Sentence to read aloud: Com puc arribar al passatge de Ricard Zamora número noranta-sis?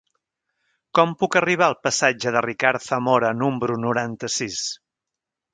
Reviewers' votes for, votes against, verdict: 1, 2, rejected